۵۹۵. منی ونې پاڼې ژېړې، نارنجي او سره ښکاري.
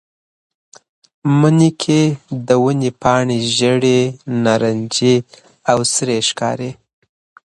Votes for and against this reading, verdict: 0, 2, rejected